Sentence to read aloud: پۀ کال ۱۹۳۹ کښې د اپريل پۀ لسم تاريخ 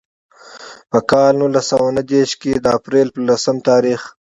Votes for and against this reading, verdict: 0, 2, rejected